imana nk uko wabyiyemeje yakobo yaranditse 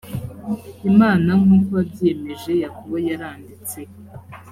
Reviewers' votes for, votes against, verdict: 3, 0, accepted